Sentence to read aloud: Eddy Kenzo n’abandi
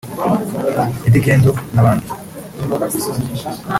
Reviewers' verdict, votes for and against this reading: accepted, 2, 0